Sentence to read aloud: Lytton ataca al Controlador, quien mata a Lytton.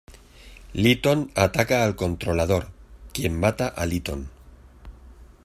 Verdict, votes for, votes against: rejected, 1, 2